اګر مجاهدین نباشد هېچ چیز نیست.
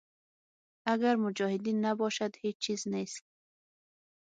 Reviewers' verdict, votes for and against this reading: rejected, 3, 6